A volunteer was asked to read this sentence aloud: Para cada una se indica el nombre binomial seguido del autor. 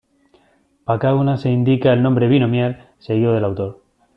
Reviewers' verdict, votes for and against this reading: rejected, 1, 2